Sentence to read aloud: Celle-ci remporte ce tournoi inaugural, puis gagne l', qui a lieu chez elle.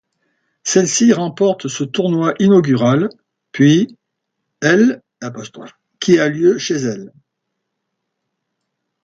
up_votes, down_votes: 0, 2